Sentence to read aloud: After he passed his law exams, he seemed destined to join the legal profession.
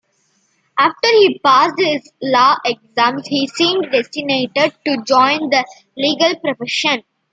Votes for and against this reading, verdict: 0, 2, rejected